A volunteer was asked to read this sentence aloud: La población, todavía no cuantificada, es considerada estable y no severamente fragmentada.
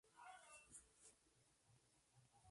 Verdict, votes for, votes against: rejected, 0, 2